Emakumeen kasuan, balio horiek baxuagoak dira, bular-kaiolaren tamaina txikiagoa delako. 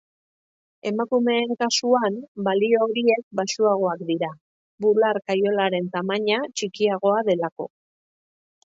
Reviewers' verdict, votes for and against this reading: accepted, 2, 0